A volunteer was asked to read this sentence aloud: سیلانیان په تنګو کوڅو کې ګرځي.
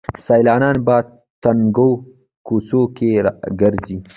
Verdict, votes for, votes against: accepted, 2, 1